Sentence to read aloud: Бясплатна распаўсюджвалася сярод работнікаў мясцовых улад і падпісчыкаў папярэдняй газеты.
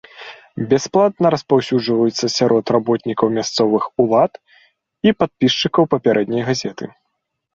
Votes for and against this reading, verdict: 0, 2, rejected